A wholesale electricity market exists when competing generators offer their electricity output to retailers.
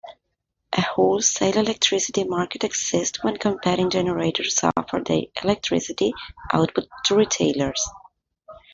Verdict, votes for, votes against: rejected, 1, 2